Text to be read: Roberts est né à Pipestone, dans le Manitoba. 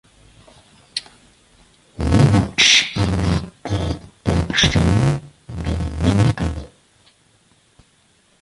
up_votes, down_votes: 0, 2